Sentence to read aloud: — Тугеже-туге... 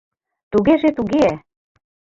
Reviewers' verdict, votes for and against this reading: accepted, 2, 0